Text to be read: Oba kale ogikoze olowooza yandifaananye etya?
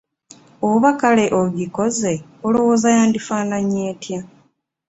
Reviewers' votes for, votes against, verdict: 2, 0, accepted